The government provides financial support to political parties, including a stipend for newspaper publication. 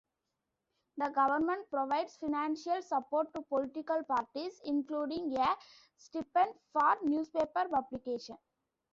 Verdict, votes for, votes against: accepted, 2, 0